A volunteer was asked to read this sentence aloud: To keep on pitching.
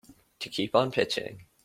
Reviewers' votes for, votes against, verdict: 2, 0, accepted